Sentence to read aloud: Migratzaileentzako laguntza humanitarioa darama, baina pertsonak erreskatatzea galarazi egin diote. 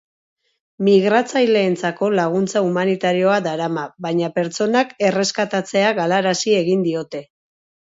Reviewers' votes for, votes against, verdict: 4, 0, accepted